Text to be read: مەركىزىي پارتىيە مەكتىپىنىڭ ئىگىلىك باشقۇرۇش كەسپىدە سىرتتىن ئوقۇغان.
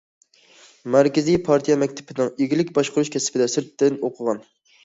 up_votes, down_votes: 2, 0